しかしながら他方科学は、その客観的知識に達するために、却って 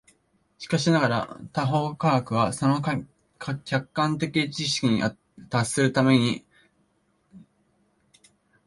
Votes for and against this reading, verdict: 1, 2, rejected